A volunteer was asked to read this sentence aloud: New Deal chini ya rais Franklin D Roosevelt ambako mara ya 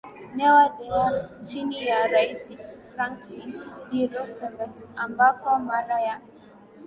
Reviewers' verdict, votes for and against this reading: rejected, 0, 2